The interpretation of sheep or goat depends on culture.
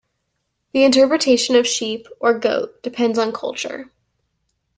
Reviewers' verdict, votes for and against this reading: accepted, 2, 0